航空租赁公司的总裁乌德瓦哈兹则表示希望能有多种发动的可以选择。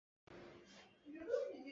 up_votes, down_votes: 0, 2